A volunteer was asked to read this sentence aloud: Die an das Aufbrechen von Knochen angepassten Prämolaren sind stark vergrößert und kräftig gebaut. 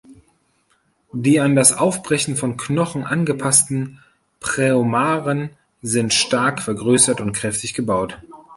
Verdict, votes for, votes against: rejected, 0, 2